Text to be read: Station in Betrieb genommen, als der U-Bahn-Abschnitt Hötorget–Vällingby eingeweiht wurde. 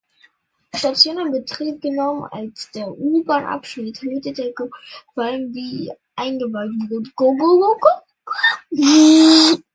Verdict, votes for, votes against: rejected, 0, 2